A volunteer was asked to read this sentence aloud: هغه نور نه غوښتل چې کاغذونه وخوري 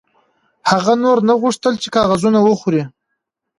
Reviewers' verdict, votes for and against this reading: rejected, 1, 2